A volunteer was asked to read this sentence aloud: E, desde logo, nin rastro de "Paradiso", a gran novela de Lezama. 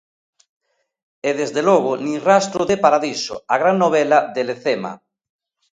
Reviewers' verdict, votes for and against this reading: rejected, 0, 2